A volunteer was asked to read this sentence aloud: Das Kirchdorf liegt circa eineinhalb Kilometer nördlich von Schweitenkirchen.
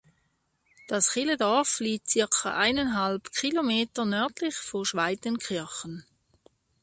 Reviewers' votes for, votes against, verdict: 0, 2, rejected